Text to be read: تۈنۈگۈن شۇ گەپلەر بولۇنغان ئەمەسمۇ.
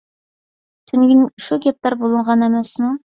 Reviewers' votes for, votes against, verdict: 2, 0, accepted